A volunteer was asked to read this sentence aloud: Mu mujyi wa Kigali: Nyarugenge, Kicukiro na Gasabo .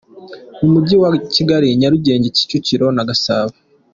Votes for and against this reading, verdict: 3, 0, accepted